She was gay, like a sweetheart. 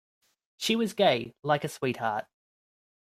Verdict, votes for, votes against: rejected, 0, 2